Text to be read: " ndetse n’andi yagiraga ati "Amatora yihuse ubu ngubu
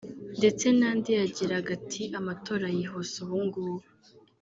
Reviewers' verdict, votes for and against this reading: rejected, 1, 2